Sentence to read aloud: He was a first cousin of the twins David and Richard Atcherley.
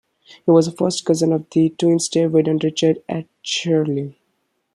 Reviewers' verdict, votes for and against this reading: rejected, 1, 2